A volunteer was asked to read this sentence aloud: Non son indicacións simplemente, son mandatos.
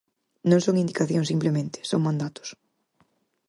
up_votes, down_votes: 4, 0